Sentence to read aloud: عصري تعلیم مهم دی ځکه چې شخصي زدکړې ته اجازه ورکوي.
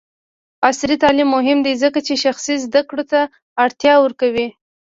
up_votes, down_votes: 1, 3